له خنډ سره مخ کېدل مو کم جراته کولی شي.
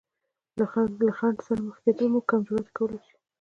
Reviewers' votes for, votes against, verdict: 2, 0, accepted